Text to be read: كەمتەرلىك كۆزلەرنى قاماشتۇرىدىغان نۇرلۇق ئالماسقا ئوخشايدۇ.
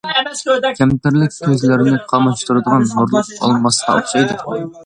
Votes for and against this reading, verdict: 0, 2, rejected